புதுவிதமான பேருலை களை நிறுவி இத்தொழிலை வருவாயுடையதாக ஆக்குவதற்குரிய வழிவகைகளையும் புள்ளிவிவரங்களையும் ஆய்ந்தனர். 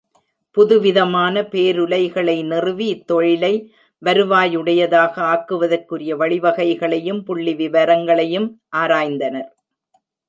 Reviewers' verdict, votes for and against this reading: rejected, 0, 2